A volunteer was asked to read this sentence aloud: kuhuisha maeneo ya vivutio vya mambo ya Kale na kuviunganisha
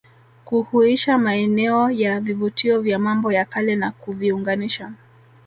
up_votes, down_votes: 0, 2